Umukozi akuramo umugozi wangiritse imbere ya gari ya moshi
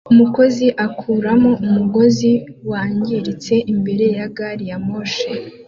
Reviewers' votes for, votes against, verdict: 2, 0, accepted